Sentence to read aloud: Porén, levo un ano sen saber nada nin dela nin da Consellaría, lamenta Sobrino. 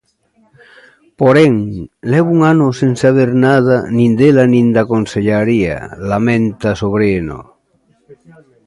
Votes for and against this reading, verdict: 0, 2, rejected